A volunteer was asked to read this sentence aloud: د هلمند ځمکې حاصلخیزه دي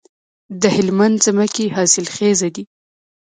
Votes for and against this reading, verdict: 1, 2, rejected